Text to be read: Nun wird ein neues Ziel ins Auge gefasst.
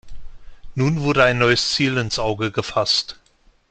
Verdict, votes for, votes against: rejected, 1, 2